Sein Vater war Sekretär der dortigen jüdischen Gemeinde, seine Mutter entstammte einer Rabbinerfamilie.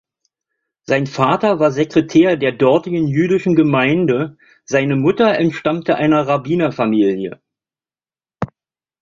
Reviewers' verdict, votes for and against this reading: accepted, 2, 0